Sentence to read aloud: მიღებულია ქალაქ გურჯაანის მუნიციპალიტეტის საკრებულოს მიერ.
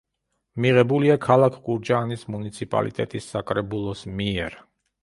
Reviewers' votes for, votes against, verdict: 2, 0, accepted